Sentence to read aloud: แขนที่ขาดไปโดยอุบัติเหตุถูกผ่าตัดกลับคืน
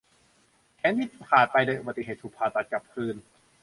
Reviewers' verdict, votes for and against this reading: accepted, 2, 0